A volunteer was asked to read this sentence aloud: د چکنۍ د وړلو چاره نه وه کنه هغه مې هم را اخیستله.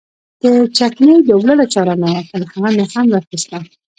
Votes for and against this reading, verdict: 1, 2, rejected